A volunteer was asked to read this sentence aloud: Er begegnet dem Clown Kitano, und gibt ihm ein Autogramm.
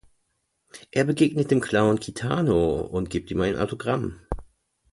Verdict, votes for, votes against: accepted, 2, 0